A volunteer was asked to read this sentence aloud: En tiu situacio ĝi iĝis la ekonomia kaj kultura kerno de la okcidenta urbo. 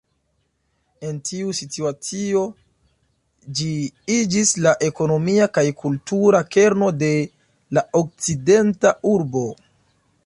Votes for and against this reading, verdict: 2, 0, accepted